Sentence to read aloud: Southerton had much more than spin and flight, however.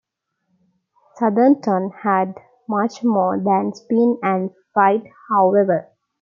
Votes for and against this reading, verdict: 0, 2, rejected